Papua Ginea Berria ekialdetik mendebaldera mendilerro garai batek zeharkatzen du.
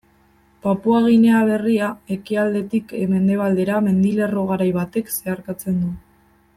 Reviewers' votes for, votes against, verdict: 2, 0, accepted